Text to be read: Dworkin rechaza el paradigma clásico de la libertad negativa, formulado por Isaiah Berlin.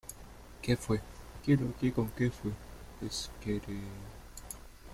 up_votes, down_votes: 0, 2